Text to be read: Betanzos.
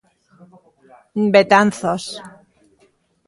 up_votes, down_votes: 2, 1